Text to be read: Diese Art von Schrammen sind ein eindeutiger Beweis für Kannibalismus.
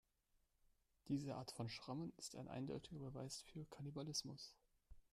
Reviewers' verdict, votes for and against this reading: rejected, 1, 2